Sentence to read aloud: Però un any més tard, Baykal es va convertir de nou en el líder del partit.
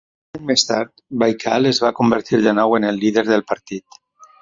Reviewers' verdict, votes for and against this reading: rejected, 1, 2